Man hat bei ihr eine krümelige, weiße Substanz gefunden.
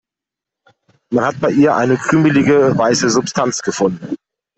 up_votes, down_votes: 1, 2